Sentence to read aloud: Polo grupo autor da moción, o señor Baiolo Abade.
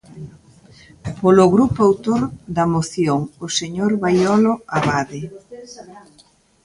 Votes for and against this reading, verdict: 2, 1, accepted